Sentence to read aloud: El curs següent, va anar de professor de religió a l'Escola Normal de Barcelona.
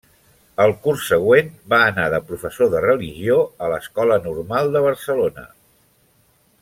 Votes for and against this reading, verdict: 2, 0, accepted